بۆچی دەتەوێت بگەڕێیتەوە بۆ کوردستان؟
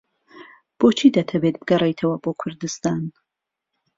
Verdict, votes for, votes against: accepted, 2, 0